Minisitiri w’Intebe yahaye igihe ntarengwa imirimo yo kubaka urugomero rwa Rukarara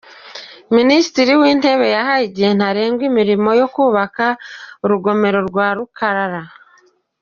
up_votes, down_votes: 2, 0